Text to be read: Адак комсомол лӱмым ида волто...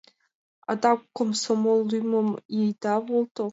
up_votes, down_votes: 2, 0